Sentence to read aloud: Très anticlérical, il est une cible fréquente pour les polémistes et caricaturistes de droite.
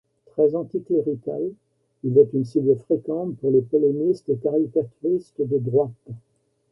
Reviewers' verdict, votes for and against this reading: rejected, 1, 2